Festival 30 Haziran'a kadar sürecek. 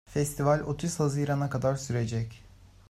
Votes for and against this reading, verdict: 0, 2, rejected